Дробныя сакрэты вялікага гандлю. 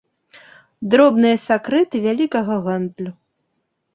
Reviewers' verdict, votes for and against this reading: accepted, 2, 0